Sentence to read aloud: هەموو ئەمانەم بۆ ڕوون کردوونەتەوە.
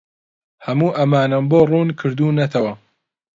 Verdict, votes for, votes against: accepted, 2, 0